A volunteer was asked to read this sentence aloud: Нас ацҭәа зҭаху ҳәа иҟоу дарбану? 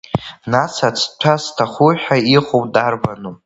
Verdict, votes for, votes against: accepted, 3, 1